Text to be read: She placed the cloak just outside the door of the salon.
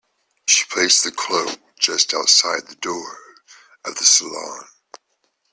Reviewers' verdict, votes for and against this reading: accepted, 2, 0